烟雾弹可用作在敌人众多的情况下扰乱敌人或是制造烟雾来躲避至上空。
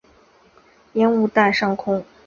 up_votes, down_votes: 2, 3